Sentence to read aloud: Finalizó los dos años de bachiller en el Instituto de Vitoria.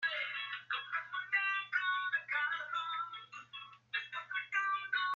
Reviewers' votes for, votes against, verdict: 0, 2, rejected